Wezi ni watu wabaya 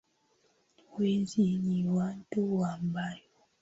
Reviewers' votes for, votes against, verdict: 9, 0, accepted